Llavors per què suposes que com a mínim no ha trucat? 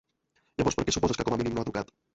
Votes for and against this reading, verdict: 1, 2, rejected